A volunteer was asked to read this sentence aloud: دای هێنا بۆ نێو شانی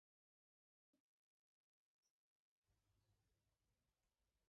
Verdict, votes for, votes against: rejected, 0, 3